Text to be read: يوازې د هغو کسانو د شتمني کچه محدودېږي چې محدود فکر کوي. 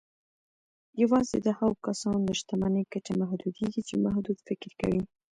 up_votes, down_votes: 1, 2